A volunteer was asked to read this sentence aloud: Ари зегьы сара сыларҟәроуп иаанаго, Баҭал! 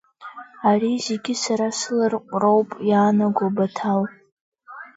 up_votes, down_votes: 1, 2